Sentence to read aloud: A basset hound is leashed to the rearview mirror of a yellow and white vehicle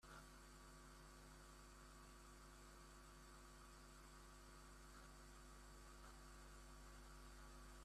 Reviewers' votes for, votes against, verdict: 0, 2, rejected